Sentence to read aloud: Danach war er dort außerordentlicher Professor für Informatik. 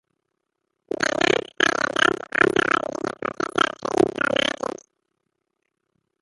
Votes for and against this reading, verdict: 0, 2, rejected